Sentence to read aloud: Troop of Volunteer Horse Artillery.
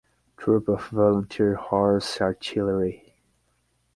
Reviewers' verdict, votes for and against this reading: accepted, 6, 0